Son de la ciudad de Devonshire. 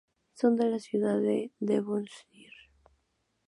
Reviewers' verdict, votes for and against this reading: accepted, 2, 0